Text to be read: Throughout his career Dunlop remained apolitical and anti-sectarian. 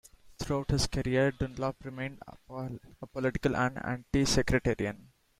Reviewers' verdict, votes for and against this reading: rejected, 0, 2